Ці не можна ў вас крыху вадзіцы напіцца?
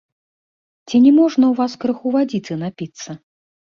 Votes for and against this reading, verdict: 1, 2, rejected